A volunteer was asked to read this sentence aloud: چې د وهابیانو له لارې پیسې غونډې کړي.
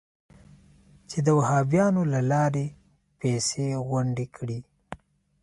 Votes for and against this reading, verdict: 2, 0, accepted